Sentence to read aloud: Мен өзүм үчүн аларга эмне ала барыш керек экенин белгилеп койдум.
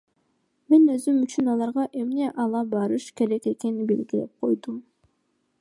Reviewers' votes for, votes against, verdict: 0, 2, rejected